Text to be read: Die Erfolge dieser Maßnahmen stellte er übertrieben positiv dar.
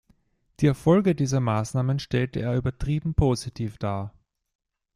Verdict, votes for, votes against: accepted, 2, 0